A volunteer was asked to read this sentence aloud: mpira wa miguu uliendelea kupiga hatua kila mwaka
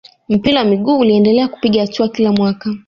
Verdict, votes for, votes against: accepted, 2, 0